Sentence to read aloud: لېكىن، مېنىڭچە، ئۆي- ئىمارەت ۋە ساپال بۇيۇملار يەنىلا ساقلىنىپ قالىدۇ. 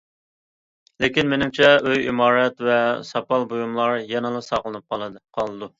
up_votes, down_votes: 2, 1